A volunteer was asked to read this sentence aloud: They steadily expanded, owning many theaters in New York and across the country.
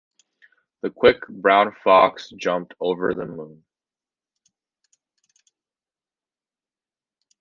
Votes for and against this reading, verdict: 0, 2, rejected